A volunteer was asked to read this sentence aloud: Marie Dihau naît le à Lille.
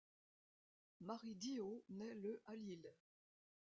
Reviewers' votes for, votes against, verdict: 0, 2, rejected